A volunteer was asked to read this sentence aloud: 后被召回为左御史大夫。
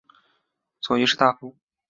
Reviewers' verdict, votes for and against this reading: rejected, 0, 3